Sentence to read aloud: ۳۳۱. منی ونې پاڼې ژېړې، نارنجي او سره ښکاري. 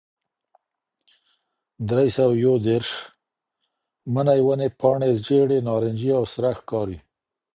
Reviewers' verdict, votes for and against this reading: rejected, 0, 2